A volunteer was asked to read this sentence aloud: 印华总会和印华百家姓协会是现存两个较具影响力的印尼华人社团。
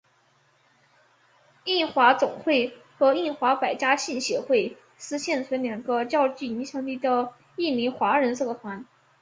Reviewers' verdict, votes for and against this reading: rejected, 0, 2